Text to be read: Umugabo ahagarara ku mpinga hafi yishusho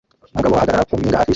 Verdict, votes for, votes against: rejected, 0, 2